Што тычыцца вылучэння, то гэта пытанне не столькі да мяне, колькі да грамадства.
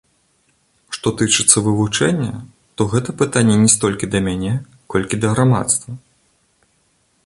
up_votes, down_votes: 3, 1